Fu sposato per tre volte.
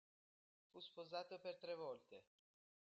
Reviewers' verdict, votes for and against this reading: rejected, 1, 2